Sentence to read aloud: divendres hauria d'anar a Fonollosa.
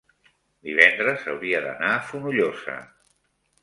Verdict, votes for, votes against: accepted, 3, 1